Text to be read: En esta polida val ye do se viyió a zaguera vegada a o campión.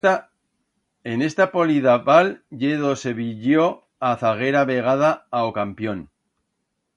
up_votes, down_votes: 1, 2